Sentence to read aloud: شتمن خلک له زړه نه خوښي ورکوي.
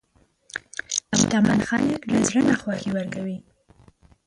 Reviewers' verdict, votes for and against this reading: rejected, 1, 2